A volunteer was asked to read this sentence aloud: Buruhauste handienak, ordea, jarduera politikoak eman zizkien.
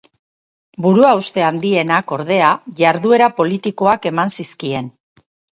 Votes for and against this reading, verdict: 6, 0, accepted